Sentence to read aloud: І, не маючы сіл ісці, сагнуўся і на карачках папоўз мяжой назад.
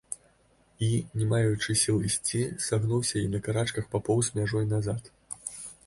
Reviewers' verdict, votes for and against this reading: rejected, 1, 2